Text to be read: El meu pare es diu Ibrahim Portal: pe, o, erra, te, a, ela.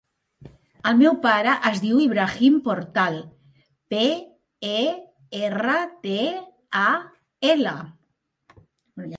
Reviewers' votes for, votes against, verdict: 1, 2, rejected